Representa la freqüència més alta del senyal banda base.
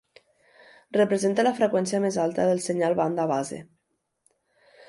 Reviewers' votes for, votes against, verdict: 2, 0, accepted